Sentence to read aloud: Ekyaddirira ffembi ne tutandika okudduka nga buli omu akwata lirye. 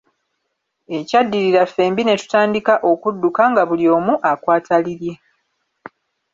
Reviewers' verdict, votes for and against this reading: accepted, 2, 0